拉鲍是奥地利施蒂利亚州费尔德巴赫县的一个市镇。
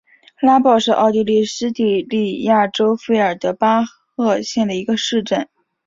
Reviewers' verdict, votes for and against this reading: rejected, 1, 2